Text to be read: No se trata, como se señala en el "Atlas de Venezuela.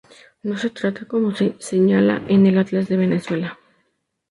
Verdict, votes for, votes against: accepted, 2, 0